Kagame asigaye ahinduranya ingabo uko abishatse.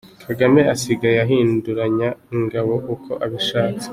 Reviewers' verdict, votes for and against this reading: accepted, 3, 2